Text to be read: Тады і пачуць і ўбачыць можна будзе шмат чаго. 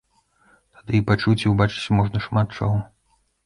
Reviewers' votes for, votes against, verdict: 1, 2, rejected